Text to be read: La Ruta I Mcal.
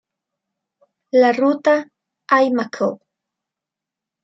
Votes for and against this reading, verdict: 1, 2, rejected